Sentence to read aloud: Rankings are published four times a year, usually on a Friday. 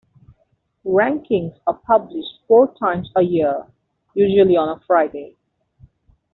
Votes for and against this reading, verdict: 2, 1, accepted